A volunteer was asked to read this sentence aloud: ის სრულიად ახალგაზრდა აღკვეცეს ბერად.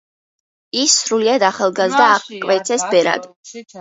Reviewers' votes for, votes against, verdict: 2, 1, accepted